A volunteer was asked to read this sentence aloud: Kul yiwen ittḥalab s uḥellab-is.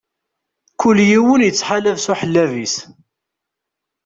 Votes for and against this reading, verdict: 2, 0, accepted